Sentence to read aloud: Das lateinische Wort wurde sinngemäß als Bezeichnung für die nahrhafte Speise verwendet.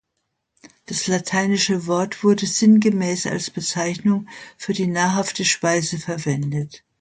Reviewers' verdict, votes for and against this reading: accepted, 2, 0